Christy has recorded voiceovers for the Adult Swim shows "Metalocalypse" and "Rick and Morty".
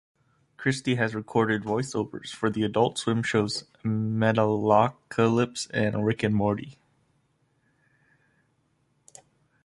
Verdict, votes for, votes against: accepted, 2, 0